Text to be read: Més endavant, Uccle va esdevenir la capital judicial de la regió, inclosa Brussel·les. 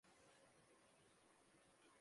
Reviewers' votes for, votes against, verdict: 0, 2, rejected